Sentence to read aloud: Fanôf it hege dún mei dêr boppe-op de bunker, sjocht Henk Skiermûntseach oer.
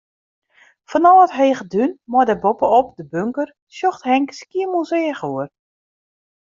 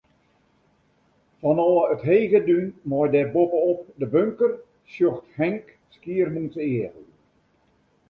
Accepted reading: first